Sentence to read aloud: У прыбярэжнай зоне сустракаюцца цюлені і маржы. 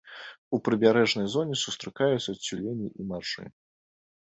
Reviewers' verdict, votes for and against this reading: rejected, 1, 2